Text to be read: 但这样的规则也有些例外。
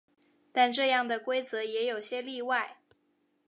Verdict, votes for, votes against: accepted, 4, 0